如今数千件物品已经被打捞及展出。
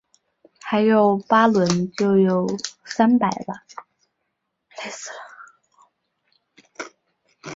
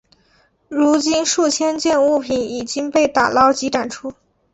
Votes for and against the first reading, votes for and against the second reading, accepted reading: 0, 3, 4, 0, second